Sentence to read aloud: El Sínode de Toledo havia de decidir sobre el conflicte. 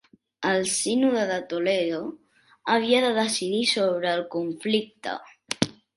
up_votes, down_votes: 3, 0